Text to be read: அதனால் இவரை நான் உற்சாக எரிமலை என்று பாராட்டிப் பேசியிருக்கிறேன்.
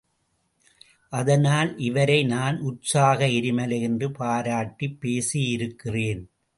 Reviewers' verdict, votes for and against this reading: accepted, 2, 0